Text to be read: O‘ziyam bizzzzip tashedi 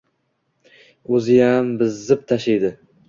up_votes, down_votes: 2, 0